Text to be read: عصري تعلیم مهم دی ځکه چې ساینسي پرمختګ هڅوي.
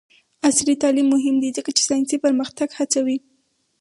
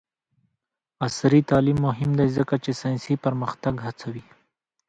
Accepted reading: second